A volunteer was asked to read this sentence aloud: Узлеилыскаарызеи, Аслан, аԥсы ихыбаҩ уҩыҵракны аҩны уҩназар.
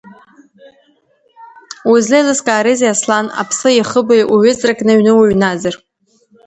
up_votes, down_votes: 2, 1